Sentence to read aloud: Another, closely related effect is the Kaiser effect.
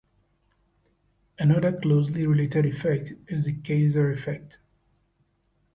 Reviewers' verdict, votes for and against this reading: accepted, 2, 0